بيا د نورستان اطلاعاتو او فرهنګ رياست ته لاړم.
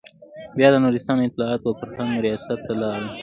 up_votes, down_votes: 2, 1